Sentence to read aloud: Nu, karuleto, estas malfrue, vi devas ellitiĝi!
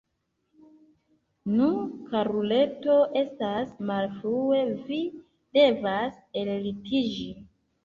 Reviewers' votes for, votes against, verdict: 2, 0, accepted